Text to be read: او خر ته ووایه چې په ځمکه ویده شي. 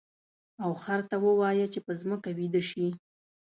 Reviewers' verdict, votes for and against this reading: accepted, 2, 0